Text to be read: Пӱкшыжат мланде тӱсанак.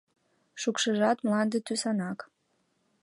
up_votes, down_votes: 1, 2